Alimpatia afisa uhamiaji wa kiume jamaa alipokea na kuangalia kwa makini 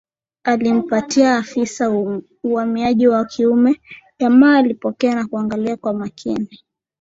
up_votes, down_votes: 2, 0